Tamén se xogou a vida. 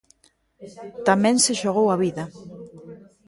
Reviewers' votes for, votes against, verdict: 1, 2, rejected